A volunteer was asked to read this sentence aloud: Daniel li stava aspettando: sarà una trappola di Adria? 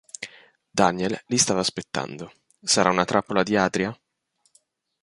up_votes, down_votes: 3, 0